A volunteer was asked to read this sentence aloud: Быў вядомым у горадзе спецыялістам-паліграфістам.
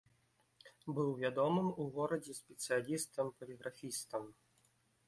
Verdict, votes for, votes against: accepted, 2, 0